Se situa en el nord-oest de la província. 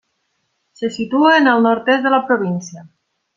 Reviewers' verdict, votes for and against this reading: rejected, 0, 2